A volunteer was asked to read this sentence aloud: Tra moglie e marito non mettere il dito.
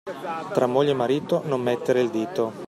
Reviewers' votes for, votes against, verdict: 2, 0, accepted